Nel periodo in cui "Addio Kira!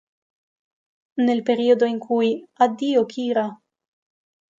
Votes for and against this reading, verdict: 2, 0, accepted